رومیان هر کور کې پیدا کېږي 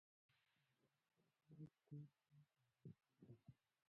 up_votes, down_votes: 1, 2